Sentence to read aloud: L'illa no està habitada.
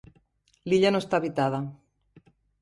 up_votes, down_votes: 3, 0